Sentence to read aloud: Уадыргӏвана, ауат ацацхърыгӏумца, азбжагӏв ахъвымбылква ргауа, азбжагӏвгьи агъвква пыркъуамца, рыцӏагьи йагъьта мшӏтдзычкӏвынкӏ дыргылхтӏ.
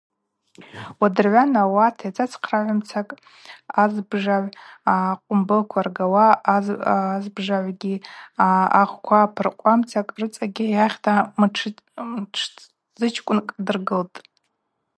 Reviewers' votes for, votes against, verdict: 0, 2, rejected